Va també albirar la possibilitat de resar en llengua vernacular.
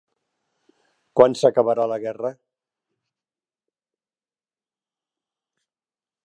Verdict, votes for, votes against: rejected, 0, 2